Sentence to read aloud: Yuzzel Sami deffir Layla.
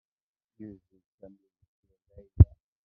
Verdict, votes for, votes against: rejected, 0, 2